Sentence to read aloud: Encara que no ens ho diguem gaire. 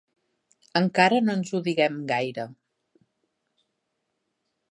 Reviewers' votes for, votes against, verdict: 1, 2, rejected